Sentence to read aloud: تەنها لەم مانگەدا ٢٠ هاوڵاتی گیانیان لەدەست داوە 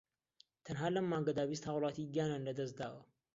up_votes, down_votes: 0, 2